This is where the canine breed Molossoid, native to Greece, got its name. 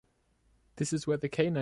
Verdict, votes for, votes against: rejected, 1, 2